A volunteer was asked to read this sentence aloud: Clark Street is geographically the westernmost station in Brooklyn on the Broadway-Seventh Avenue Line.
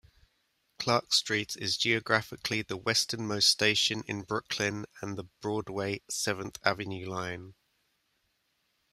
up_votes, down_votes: 2, 0